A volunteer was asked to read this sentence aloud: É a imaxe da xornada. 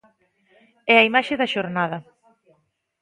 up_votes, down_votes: 0, 2